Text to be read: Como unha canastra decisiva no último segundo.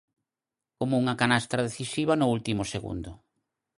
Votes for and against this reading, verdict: 4, 2, accepted